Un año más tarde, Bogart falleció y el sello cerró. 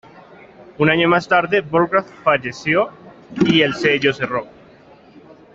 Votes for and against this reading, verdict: 2, 0, accepted